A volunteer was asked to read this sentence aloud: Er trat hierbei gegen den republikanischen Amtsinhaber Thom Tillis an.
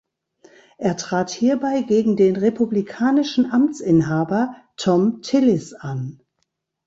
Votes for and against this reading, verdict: 2, 0, accepted